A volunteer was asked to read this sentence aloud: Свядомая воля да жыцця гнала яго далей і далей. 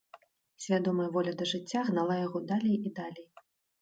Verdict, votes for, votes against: rejected, 0, 2